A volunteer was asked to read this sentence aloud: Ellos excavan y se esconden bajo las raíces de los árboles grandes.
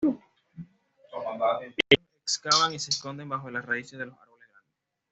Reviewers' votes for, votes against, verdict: 1, 2, rejected